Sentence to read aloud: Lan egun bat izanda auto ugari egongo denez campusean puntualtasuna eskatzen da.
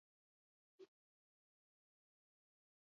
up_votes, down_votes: 0, 2